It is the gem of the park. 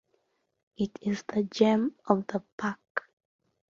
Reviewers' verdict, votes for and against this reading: accepted, 2, 1